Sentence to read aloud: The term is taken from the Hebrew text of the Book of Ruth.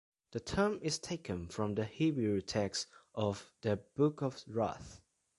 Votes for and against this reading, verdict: 1, 3, rejected